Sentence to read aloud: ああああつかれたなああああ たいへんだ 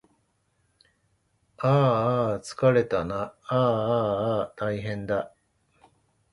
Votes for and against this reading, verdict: 2, 0, accepted